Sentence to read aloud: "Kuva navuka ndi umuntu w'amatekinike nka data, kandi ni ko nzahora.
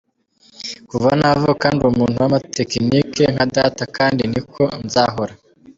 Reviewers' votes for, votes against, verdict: 1, 2, rejected